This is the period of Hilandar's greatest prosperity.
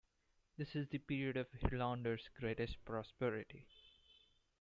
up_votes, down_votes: 2, 0